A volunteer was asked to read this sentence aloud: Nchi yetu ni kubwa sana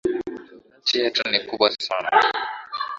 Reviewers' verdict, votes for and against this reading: accepted, 10, 7